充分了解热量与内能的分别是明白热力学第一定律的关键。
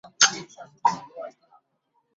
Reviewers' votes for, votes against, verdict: 0, 3, rejected